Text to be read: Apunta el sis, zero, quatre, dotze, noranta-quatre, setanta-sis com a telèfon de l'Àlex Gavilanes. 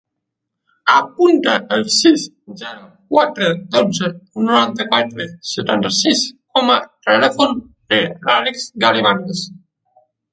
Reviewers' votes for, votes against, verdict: 2, 1, accepted